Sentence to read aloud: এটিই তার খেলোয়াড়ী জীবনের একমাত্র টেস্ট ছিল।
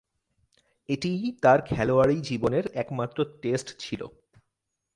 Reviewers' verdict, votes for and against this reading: accepted, 8, 0